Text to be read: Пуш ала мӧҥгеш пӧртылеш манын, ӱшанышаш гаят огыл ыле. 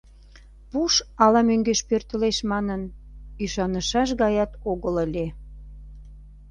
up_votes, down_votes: 2, 0